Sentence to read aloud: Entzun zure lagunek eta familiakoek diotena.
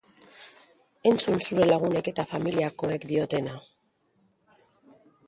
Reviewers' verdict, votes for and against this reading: accepted, 3, 1